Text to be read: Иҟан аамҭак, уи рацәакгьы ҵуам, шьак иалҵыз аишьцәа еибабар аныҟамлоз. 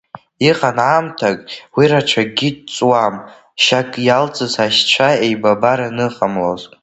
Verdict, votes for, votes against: rejected, 0, 2